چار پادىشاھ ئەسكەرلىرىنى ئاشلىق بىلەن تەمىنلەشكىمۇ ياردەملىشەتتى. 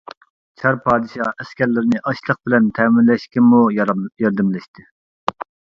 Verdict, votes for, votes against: rejected, 0, 3